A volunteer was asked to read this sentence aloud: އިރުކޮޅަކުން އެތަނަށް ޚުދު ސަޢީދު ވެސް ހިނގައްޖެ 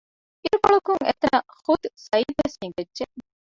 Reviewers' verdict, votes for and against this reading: rejected, 1, 2